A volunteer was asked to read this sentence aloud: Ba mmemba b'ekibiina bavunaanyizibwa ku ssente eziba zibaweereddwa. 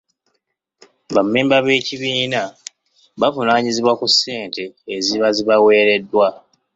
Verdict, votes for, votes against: accepted, 2, 0